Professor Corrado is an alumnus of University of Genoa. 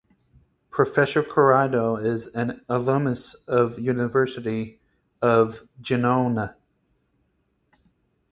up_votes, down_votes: 0, 4